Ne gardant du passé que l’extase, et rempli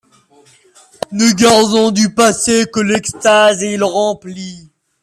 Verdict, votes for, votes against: rejected, 0, 2